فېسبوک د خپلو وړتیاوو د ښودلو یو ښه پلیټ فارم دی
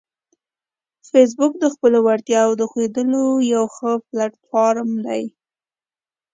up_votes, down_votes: 2, 0